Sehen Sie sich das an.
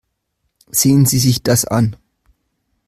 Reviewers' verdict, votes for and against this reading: accepted, 2, 0